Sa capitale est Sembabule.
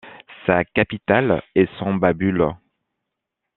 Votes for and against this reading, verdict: 2, 0, accepted